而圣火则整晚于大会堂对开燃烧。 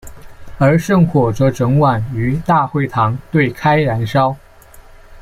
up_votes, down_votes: 3, 2